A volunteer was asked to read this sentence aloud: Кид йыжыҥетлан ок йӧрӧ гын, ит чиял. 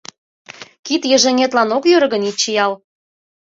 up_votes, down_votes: 2, 0